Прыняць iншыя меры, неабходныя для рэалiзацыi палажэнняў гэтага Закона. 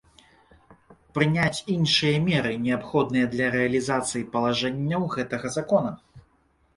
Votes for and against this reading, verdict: 2, 0, accepted